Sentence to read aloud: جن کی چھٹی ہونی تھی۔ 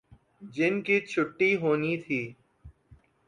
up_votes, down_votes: 4, 0